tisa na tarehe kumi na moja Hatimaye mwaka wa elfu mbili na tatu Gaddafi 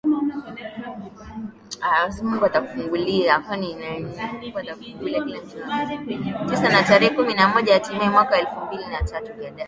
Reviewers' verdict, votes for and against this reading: rejected, 0, 2